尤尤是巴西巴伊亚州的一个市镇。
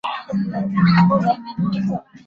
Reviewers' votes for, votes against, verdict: 2, 3, rejected